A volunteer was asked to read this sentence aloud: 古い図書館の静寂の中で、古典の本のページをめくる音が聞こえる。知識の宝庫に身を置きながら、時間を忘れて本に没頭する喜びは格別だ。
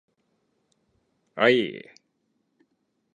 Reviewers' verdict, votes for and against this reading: rejected, 0, 2